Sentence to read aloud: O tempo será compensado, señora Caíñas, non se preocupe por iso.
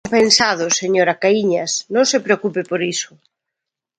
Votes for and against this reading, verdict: 0, 2, rejected